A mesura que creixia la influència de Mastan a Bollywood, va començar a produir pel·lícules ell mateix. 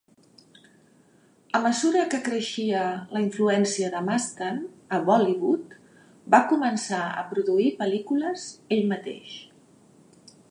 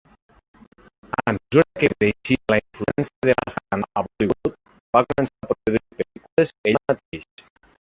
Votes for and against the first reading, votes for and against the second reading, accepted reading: 3, 0, 0, 6, first